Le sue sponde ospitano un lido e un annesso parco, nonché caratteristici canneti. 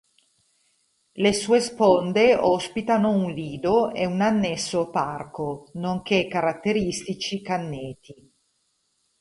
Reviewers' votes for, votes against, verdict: 2, 0, accepted